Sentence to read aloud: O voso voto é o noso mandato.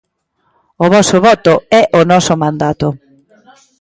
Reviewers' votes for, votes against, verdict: 0, 2, rejected